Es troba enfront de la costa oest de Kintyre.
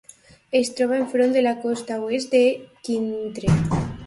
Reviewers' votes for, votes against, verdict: 1, 2, rejected